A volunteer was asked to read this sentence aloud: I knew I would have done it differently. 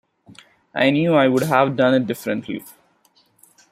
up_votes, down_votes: 2, 0